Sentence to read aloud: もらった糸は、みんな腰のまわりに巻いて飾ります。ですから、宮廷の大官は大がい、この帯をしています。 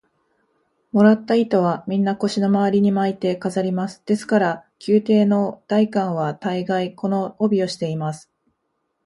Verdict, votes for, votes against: accepted, 2, 0